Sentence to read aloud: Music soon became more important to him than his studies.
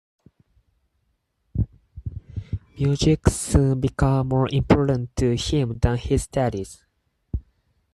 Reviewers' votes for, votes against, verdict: 0, 4, rejected